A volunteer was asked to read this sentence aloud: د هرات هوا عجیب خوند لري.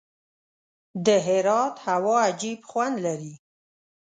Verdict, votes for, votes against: accepted, 2, 0